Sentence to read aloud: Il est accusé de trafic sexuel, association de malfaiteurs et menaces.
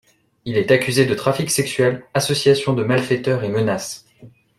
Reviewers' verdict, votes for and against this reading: accepted, 2, 0